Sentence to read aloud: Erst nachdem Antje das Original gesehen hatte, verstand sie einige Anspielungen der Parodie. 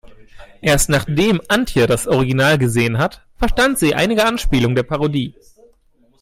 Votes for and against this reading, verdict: 0, 2, rejected